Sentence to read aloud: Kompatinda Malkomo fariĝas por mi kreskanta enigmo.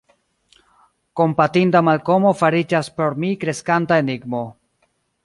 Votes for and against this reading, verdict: 1, 2, rejected